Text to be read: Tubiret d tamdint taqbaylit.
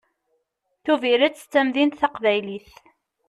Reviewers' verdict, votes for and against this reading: accepted, 2, 0